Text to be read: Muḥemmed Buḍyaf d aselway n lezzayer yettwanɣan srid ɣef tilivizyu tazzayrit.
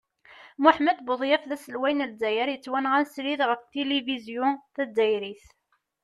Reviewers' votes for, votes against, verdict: 2, 0, accepted